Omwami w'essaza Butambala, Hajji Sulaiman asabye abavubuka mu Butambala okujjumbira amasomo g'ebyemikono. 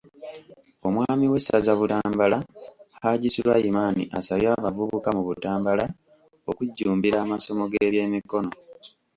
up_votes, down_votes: 3, 0